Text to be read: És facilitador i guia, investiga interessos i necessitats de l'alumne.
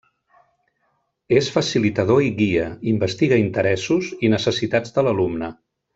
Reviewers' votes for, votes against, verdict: 2, 0, accepted